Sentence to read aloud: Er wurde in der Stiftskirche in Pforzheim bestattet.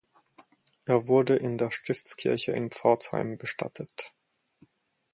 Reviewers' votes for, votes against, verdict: 4, 0, accepted